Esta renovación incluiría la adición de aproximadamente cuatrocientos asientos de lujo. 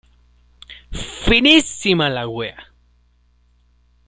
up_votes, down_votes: 0, 2